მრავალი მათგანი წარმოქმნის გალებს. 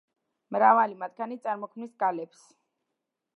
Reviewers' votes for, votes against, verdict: 1, 2, rejected